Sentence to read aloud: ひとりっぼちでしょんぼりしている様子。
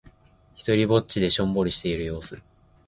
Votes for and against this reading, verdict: 1, 2, rejected